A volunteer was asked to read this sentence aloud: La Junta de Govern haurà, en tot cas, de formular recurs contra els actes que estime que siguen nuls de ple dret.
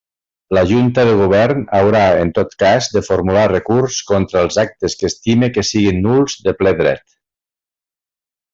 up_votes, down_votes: 2, 0